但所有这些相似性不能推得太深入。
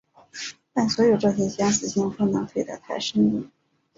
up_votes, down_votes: 5, 1